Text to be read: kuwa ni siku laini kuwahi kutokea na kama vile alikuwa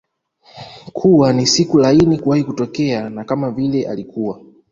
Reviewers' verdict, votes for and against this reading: accepted, 2, 0